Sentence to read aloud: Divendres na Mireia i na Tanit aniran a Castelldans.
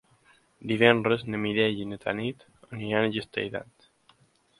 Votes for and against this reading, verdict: 1, 3, rejected